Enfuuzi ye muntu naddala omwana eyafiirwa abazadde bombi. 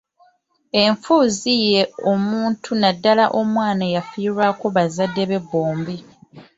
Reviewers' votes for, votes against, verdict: 0, 2, rejected